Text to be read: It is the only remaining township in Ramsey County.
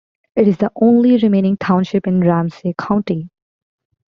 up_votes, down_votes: 2, 0